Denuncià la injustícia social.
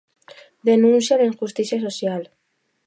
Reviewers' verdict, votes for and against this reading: rejected, 0, 2